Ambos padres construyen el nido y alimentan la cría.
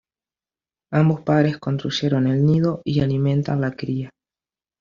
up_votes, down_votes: 1, 3